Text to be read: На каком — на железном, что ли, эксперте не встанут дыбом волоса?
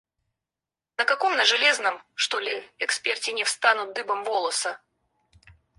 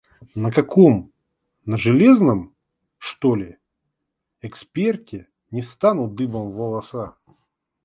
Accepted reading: second